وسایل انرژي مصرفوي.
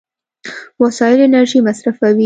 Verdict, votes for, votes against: accepted, 2, 0